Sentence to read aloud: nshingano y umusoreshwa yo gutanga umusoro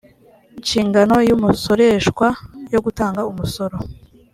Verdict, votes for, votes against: accepted, 4, 0